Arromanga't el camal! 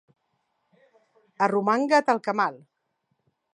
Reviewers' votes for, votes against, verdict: 2, 0, accepted